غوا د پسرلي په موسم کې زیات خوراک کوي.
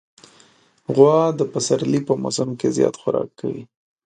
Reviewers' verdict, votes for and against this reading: accepted, 2, 0